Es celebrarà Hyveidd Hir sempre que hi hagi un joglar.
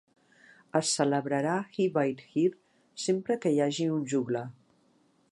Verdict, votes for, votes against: accepted, 3, 0